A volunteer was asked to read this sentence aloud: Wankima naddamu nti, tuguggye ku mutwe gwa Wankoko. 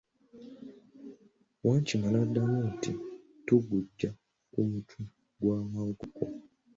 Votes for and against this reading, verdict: 1, 2, rejected